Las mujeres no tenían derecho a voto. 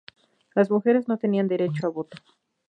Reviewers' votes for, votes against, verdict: 0, 2, rejected